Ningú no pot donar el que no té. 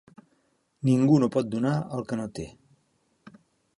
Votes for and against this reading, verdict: 2, 0, accepted